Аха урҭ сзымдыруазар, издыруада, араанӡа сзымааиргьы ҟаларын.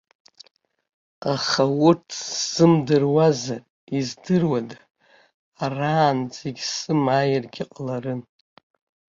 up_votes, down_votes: 2, 3